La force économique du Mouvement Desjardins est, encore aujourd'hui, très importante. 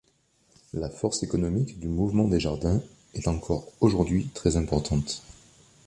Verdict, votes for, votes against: accepted, 2, 0